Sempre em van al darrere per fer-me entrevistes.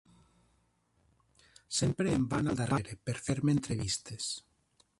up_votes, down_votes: 0, 2